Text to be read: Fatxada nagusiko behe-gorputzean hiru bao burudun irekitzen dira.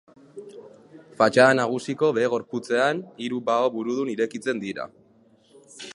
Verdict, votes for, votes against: rejected, 2, 2